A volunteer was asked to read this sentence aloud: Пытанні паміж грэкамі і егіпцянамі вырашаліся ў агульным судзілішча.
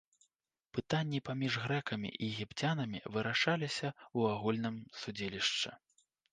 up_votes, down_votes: 2, 1